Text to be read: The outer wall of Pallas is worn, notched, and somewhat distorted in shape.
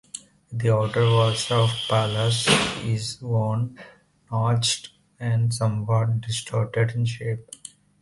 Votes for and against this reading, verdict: 2, 0, accepted